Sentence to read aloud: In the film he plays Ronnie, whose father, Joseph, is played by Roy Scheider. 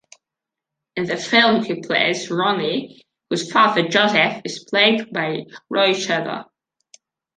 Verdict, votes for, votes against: rejected, 1, 2